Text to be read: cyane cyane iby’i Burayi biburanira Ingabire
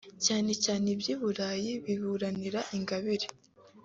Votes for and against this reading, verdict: 3, 0, accepted